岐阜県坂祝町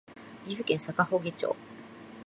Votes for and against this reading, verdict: 2, 0, accepted